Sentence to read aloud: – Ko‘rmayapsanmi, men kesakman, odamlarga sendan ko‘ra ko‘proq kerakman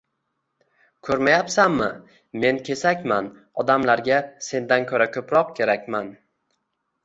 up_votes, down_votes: 0, 2